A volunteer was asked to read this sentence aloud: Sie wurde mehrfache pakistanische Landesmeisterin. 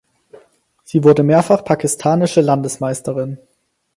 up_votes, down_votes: 2, 6